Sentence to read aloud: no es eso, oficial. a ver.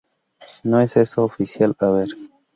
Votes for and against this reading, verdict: 2, 0, accepted